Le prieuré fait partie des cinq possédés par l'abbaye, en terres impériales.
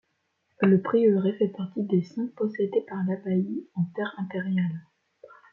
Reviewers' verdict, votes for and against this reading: accepted, 2, 1